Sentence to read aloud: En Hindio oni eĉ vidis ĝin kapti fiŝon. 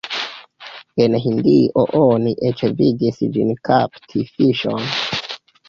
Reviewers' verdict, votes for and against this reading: accepted, 3, 2